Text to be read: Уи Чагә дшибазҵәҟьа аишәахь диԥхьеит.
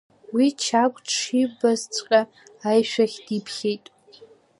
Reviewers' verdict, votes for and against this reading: accepted, 2, 0